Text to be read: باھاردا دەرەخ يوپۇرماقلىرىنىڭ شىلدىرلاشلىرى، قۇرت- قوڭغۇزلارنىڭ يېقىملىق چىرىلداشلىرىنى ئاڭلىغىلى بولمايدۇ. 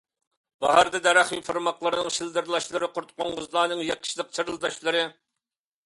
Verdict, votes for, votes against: rejected, 0, 2